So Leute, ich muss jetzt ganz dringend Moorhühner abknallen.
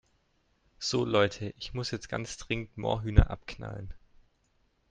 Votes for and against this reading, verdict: 3, 0, accepted